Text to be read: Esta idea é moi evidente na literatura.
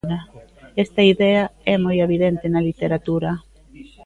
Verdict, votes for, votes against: rejected, 2, 3